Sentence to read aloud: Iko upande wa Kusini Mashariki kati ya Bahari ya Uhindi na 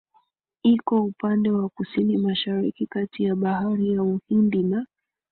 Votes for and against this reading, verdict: 3, 0, accepted